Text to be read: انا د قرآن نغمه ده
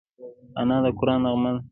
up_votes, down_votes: 1, 2